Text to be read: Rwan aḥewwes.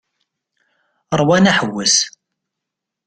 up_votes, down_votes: 2, 0